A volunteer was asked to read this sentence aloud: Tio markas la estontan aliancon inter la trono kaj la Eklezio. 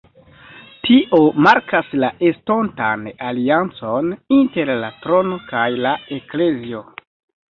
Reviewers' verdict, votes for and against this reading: rejected, 2, 3